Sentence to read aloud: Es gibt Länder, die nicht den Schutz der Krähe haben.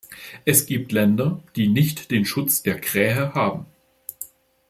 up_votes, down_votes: 2, 0